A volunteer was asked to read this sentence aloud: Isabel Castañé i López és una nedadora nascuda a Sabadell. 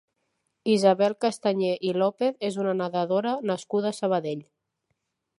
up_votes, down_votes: 2, 0